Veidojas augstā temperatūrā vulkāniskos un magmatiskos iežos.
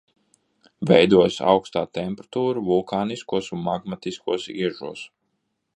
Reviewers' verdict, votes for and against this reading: rejected, 1, 2